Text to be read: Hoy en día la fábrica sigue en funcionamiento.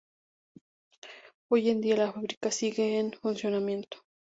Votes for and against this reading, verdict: 4, 0, accepted